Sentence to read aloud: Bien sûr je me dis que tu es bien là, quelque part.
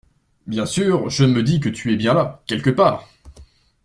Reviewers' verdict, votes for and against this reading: accepted, 2, 0